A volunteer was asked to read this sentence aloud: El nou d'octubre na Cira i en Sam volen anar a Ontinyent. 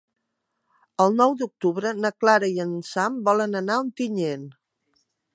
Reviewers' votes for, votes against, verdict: 2, 1, accepted